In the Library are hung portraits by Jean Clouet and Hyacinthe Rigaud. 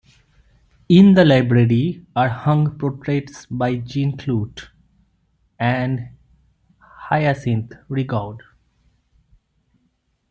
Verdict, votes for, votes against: rejected, 1, 2